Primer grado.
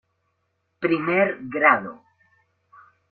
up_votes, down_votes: 0, 2